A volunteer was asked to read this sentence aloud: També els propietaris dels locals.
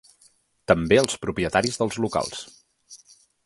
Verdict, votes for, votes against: accepted, 2, 0